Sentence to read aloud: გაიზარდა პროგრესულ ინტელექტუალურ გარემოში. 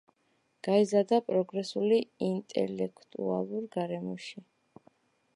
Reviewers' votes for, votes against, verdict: 1, 2, rejected